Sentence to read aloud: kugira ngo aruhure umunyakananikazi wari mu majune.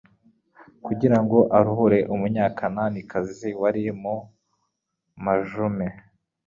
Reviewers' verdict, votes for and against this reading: accepted, 4, 0